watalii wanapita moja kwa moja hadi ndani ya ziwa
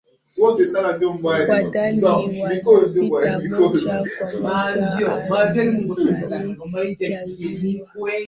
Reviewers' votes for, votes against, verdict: 0, 2, rejected